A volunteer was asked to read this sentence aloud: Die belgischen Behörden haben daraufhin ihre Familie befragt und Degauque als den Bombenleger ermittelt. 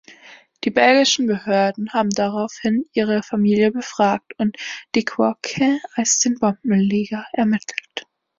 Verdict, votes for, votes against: accepted, 2, 1